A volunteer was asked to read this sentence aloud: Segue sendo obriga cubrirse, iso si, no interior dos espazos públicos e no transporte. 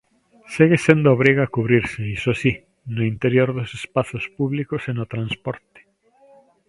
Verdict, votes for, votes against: accepted, 2, 0